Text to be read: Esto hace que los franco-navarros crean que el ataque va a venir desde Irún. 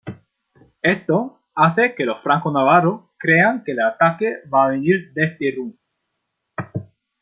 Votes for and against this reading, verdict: 2, 1, accepted